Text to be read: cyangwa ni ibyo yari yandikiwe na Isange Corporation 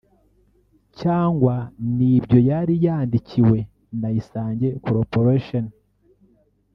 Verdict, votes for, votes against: rejected, 1, 2